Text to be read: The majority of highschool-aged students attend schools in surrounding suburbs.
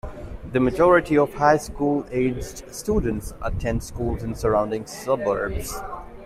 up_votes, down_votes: 2, 0